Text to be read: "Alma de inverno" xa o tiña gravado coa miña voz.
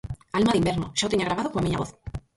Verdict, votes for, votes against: rejected, 0, 4